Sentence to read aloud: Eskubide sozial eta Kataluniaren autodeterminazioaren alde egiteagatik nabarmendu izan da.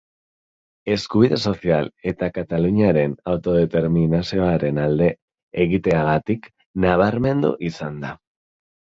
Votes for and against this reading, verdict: 0, 2, rejected